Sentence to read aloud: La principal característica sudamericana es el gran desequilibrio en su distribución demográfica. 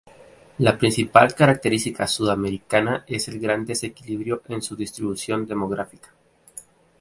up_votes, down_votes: 2, 2